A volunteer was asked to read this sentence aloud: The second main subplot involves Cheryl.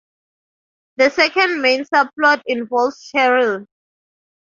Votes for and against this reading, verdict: 2, 0, accepted